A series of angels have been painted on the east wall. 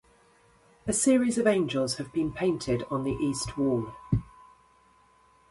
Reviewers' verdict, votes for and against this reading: accepted, 2, 0